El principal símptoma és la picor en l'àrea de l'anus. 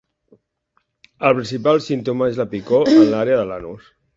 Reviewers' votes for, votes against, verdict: 2, 0, accepted